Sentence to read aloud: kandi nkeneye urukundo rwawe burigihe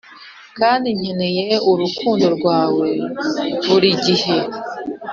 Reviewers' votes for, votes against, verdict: 4, 0, accepted